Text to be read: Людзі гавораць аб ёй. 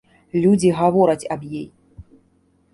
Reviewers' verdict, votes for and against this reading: rejected, 0, 2